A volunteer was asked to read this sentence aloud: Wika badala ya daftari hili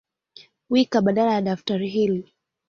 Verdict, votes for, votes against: accepted, 9, 0